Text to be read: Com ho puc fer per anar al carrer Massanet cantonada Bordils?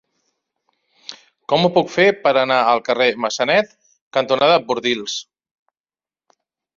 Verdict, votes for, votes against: accepted, 2, 0